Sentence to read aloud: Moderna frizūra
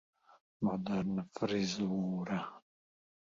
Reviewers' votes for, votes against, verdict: 1, 2, rejected